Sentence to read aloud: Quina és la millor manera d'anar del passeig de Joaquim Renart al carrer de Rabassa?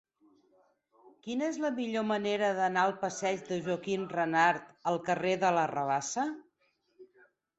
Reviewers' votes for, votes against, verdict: 2, 4, rejected